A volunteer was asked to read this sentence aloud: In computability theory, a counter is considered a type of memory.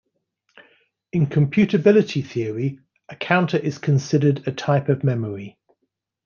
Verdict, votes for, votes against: accepted, 2, 0